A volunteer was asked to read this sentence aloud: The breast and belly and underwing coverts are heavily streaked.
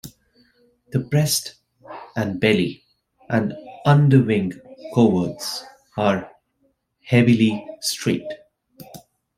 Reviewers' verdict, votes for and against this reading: accepted, 2, 0